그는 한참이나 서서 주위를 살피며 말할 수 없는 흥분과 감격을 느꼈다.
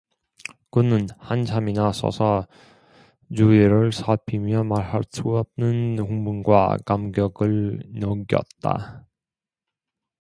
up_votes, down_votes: 1, 2